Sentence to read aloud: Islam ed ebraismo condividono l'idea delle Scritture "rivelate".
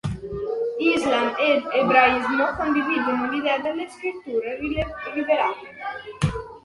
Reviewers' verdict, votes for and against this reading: rejected, 0, 2